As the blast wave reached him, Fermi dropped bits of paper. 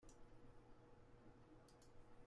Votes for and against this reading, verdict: 0, 2, rejected